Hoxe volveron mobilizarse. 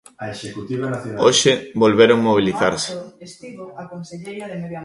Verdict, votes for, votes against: rejected, 0, 2